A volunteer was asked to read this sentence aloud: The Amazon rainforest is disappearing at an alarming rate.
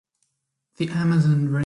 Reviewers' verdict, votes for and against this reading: rejected, 0, 2